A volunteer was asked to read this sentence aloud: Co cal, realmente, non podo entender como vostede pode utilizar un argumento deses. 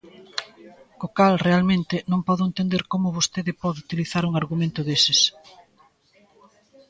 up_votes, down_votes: 2, 0